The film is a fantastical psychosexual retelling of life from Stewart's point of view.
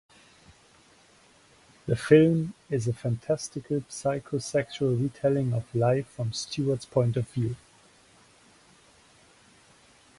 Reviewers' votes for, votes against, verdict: 0, 2, rejected